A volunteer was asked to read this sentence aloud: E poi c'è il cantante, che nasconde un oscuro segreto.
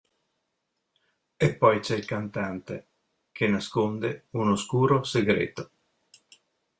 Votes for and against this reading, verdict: 2, 0, accepted